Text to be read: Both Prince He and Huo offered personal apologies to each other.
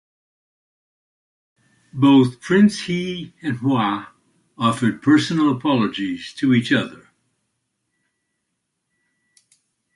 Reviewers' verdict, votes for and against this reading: rejected, 1, 2